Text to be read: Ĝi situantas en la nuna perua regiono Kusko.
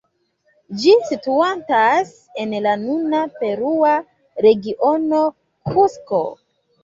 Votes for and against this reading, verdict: 0, 2, rejected